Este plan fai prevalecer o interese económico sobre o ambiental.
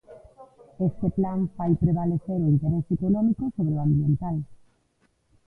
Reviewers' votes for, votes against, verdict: 0, 2, rejected